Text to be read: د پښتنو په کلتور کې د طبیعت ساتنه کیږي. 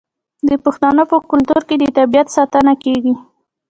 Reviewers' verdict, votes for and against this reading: rejected, 1, 2